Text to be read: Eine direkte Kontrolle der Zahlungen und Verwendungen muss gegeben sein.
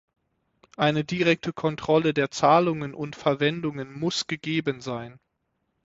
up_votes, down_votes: 6, 0